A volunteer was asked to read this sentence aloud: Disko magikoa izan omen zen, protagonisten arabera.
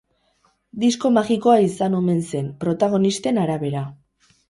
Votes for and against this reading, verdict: 2, 2, rejected